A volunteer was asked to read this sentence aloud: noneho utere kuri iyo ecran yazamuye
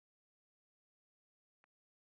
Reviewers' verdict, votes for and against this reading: rejected, 0, 2